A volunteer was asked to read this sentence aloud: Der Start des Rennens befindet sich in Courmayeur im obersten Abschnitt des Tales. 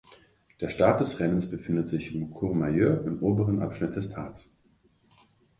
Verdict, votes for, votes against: rejected, 0, 2